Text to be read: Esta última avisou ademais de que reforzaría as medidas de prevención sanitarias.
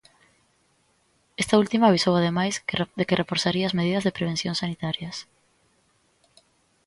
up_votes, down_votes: 0, 2